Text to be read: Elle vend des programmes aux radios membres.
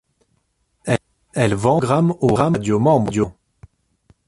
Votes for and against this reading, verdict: 0, 2, rejected